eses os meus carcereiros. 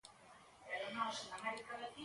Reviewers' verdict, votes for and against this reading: rejected, 0, 2